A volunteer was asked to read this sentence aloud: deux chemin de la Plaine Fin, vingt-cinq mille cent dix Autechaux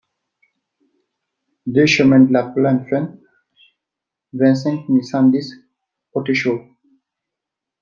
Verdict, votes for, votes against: rejected, 1, 2